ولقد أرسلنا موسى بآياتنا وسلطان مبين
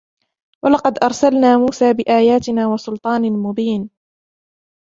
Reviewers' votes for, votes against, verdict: 0, 2, rejected